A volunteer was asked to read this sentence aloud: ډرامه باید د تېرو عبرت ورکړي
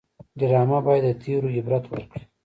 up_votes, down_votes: 1, 2